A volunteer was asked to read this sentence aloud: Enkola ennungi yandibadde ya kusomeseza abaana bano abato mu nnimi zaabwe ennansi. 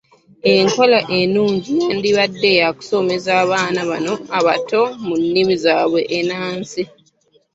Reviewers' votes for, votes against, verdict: 2, 0, accepted